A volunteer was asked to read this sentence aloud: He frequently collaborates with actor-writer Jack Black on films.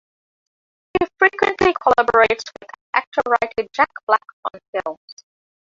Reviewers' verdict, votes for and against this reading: rejected, 0, 2